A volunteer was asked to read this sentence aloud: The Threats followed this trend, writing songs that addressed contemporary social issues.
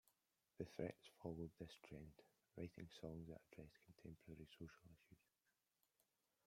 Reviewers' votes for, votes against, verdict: 0, 2, rejected